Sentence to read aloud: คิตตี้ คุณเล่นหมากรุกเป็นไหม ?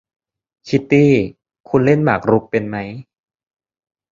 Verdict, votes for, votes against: rejected, 1, 2